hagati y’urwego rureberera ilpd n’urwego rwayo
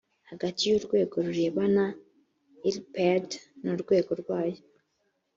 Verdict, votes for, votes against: rejected, 1, 2